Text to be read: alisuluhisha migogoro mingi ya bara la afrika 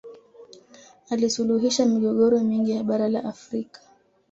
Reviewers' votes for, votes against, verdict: 2, 0, accepted